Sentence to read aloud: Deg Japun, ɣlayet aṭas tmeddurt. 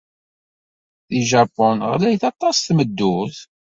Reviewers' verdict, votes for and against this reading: accepted, 2, 1